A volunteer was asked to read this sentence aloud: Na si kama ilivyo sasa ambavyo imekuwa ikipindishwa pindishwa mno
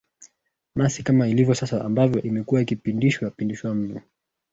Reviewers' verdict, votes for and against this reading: accepted, 2, 1